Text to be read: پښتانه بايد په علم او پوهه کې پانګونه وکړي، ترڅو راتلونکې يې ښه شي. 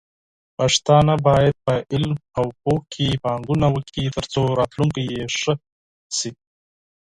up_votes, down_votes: 0, 4